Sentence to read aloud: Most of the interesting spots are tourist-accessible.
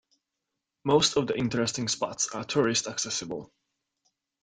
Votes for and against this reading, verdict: 2, 0, accepted